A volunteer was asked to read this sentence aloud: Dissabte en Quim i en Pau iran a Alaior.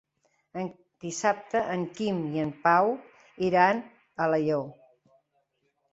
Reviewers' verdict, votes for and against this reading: accepted, 3, 0